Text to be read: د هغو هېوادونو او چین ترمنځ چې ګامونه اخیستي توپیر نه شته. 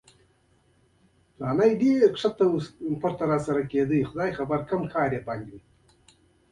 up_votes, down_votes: 0, 2